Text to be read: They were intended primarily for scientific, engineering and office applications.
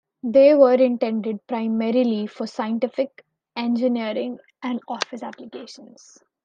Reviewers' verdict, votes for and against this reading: accepted, 2, 0